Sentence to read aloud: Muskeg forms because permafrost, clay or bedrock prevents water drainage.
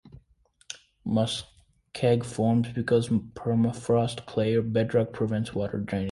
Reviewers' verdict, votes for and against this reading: rejected, 1, 2